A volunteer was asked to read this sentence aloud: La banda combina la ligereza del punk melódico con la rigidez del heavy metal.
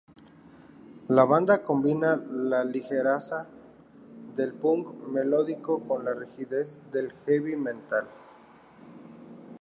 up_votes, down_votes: 0, 2